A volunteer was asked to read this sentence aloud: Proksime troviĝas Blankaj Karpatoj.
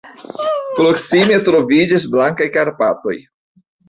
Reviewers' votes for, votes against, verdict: 1, 2, rejected